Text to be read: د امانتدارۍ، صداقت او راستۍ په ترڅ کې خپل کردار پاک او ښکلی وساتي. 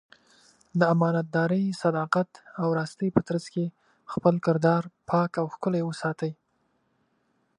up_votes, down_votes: 2, 1